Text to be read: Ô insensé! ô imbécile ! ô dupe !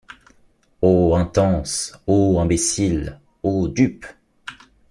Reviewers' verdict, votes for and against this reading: rejected, 0, 2